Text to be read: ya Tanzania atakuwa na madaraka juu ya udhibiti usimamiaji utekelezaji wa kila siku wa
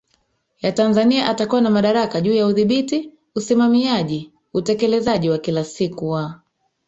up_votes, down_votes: 0, 3